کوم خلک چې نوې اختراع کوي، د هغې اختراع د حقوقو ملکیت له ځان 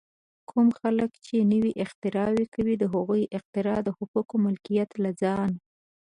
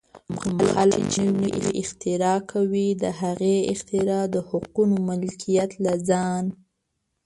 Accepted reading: first